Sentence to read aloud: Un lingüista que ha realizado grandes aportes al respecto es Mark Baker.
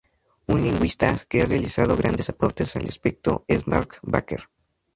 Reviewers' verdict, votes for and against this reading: rejected, 0, 2